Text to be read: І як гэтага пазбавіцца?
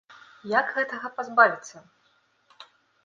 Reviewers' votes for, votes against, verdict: 0, 2, rejected